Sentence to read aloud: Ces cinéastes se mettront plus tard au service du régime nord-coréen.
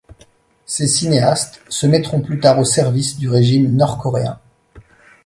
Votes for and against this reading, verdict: 2, 0, accepted